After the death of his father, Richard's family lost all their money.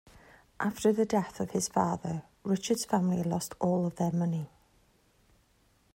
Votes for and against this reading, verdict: 2, 1, accepted